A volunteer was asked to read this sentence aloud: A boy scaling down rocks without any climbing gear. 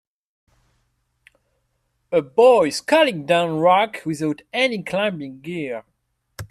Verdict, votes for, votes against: rejected, 1, 2